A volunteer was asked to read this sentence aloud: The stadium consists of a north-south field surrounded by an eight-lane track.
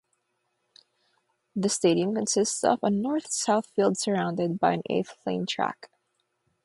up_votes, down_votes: 9, 0